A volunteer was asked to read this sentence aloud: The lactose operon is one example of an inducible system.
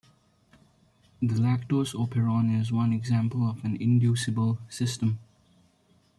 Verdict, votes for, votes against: accepted, 2, 0